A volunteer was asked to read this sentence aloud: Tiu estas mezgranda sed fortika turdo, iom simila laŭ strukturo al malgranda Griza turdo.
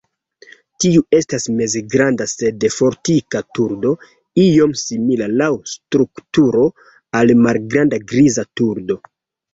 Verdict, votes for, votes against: accepted, 2, 1